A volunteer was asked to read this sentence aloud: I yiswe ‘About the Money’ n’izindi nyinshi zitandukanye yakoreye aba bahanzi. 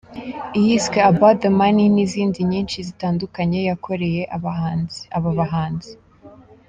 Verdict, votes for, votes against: rejected, 0, 3